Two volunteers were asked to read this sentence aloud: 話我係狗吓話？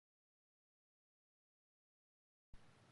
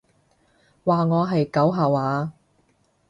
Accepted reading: second